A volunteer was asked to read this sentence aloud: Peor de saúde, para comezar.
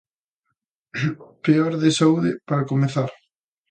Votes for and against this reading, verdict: 2, 0, accepted